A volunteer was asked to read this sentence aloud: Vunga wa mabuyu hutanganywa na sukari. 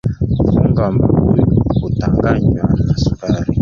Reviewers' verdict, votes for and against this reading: rejected, 1, 2